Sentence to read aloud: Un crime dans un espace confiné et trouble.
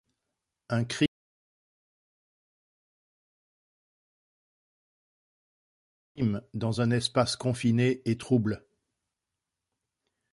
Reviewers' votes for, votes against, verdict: 0, 2, rejected